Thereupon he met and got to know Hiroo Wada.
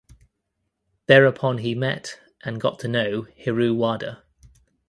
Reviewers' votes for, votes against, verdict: 2, 0, accepted